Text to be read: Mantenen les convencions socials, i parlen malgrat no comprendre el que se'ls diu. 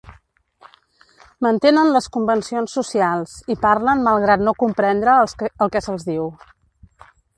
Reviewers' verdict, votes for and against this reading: rejected, 1, 2